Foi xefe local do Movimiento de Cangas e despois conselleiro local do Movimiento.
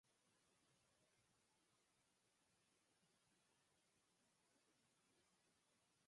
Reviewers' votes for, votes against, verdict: 0, 4, rejected